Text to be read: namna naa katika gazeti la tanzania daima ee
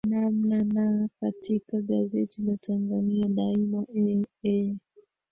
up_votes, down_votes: 1, 2